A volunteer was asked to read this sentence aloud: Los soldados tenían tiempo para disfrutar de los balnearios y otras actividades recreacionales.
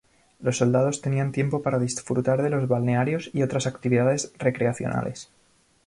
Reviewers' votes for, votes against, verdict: 2, 0, accepted